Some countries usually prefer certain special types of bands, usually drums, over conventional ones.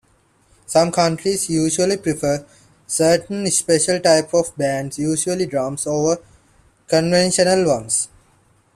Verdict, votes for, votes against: accepted, 2, 1